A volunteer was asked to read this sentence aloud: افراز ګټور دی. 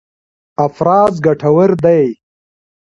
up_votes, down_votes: 0, 2